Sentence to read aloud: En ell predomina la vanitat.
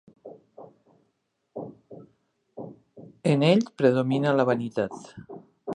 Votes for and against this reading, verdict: 1, 2, rejected